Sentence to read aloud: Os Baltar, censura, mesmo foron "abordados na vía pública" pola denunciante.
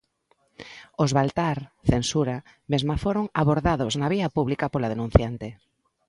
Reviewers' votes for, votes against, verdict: 2, 0, accepted